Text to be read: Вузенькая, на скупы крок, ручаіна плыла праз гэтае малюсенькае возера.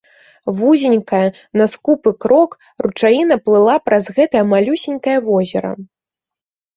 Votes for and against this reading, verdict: 2, 0, accepted